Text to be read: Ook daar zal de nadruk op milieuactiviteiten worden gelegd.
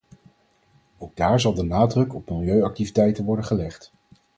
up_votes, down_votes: 4, 2